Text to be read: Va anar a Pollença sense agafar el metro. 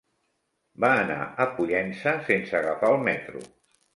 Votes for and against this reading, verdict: 3, 0, accepted